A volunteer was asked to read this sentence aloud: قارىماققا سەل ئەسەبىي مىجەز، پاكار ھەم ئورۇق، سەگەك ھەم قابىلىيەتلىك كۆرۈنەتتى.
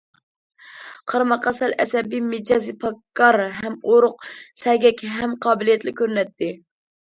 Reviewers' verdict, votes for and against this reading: rejected, 1, 2